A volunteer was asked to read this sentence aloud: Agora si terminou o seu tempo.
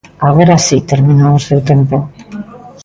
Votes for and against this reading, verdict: 2, 0, accepted